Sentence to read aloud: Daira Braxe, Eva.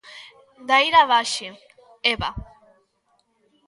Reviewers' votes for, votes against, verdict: 0, 2, rejected